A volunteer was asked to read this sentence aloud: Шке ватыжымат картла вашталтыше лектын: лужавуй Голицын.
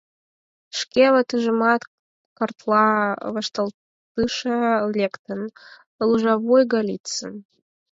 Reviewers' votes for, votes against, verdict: 4, 0, accepted